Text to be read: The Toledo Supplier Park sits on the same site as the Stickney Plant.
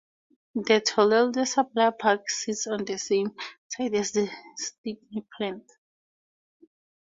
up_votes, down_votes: 0, 2